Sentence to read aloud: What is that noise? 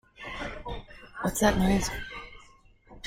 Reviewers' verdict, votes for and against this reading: rejected, 0, 2